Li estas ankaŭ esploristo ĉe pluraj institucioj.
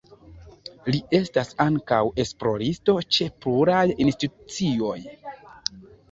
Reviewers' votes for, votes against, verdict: 0, 2, rejected